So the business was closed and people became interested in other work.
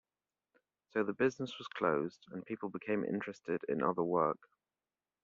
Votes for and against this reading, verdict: 2, 0, accepted